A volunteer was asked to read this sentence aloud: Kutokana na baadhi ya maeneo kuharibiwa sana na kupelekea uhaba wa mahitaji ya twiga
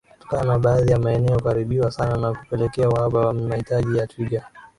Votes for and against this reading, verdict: 7, 4, accepted